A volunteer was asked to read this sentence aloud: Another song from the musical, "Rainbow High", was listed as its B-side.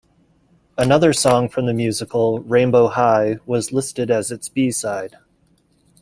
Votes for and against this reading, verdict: 2, 0, accepted